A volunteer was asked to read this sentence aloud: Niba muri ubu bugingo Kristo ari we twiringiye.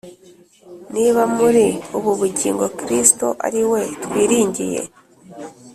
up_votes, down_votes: 2, 0